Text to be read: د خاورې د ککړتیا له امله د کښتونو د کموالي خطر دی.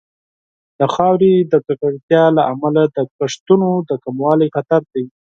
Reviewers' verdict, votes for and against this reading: accepted, 4, 0